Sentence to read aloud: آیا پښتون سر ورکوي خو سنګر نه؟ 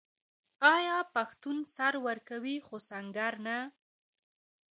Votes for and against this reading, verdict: 2, 1, accepted